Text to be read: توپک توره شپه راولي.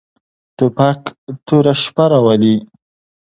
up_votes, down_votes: 2, 0